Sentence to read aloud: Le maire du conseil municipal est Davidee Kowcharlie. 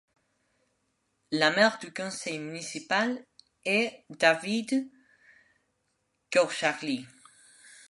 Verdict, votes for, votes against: rejected, 1, 2